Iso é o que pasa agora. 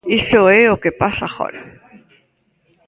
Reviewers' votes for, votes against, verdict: 2, 0, accepted